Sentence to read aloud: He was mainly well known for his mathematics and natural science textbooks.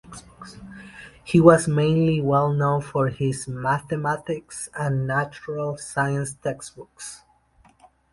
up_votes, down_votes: 2, 0